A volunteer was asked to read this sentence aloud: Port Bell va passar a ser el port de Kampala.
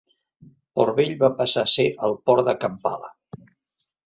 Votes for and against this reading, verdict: 2, 0, accepted